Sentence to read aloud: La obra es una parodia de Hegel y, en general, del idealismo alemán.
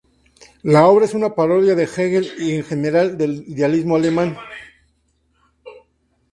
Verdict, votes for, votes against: rejected, 0, 2